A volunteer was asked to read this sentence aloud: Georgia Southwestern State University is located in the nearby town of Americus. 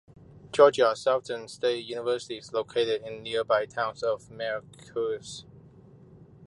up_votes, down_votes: 1, 2